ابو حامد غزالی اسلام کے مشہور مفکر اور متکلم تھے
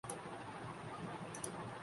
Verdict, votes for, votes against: rejected, 1, 7